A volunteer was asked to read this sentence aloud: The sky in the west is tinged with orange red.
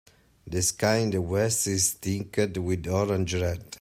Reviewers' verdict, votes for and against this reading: rejected, 0, 2